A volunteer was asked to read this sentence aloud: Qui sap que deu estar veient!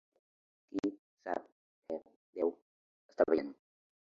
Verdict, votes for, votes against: rejected, 0, 2